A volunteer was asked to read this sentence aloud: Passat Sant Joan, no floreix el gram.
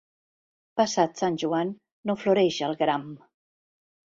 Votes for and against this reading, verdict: 2, 0, accepted